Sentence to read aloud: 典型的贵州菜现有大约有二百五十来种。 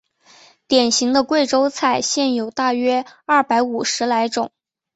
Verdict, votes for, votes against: rejected, 1, 3